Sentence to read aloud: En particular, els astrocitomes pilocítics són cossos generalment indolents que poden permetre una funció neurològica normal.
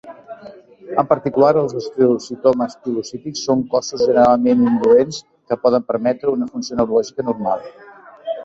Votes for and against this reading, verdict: 1, 2, rejected